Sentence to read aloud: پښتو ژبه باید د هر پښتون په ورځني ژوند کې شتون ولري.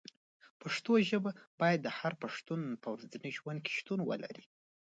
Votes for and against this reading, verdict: 1, 2, rejected